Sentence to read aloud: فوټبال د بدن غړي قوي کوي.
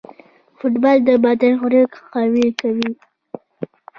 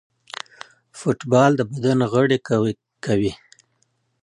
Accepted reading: second